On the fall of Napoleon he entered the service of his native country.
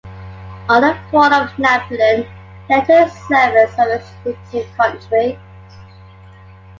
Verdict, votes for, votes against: rejected, 0, 2